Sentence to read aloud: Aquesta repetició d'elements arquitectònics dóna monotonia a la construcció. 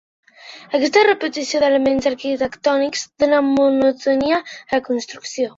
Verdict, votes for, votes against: accepted, 2, 1